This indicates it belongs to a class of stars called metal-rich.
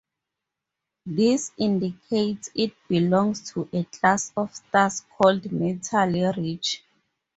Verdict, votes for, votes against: accepted, 2, 0